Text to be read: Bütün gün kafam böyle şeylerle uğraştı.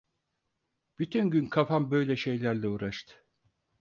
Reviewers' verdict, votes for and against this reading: accepted, 4, 0